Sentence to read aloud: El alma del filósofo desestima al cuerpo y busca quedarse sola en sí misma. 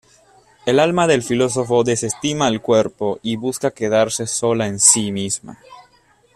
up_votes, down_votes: 2, 0